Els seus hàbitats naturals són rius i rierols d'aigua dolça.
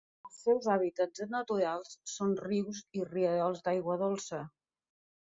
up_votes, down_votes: 3, 0